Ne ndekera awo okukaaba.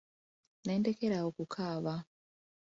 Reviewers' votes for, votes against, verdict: 2, 0, accepted